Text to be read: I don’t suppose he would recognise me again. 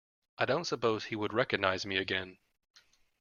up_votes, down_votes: 2, 0